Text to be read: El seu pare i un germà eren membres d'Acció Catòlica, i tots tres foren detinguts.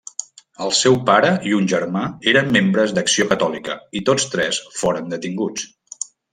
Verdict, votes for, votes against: accepted, 3, 0